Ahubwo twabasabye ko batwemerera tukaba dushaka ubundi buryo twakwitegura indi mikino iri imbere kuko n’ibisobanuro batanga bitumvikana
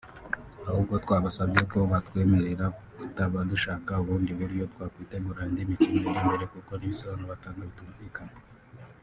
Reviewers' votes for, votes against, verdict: 1, 2, rejected